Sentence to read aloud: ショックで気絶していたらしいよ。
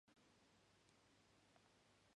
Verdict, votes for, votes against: rejected, 0, 2